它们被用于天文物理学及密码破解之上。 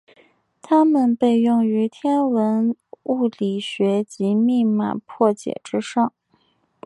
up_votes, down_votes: 2, 3